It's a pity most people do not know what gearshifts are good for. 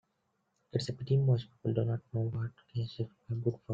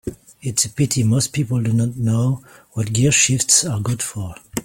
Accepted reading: second